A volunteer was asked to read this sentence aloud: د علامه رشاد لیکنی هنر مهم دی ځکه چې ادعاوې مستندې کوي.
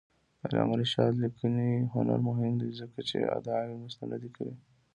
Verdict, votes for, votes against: accepted, 2, 0